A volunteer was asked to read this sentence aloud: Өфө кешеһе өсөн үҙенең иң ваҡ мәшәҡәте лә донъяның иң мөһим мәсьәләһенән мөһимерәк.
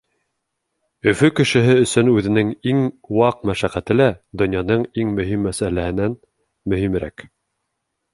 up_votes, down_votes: 2, 0